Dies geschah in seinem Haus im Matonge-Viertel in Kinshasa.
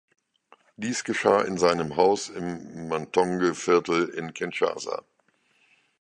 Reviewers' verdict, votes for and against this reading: accepted, 2, 0